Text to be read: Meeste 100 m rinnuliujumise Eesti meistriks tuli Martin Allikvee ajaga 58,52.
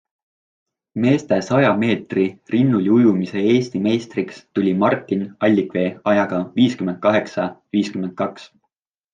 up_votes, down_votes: 0, 2